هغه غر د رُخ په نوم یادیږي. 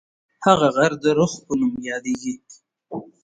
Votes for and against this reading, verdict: 2, 0, accepted